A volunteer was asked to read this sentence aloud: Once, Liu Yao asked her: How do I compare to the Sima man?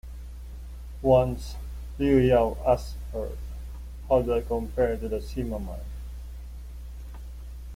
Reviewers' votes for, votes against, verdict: 2, 0, accepted